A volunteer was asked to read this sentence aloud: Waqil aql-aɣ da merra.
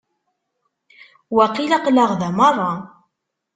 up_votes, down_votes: 2, 0